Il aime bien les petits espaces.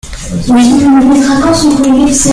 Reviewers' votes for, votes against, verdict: 0, 2, rejected